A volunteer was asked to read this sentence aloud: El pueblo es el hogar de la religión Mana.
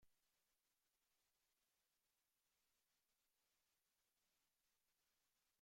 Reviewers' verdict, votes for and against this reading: rejected, 0, 2